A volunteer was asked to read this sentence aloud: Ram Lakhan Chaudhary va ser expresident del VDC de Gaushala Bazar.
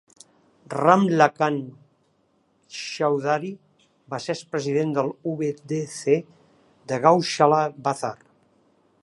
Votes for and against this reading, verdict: 1, 2, rejected